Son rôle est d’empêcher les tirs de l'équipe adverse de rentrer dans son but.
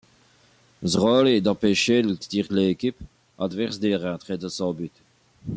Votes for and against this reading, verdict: 2, 1, accepted